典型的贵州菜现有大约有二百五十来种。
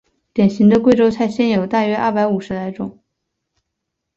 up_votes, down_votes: 4, 0